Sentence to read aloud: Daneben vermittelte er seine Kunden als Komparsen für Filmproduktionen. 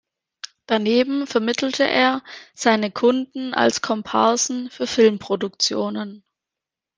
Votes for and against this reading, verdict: 2, 0, accepted